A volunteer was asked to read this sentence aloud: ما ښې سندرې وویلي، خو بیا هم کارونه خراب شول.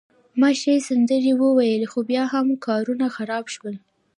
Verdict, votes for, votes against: accepted, 2, 1